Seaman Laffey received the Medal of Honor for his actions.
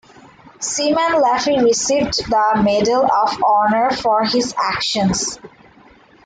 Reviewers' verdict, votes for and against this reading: accepted, 2, 1